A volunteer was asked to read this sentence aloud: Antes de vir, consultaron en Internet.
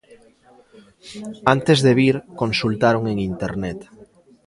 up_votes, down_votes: 2, 1